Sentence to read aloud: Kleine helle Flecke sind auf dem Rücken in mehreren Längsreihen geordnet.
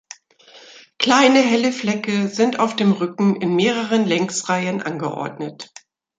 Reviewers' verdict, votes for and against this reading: rejected, 0, 2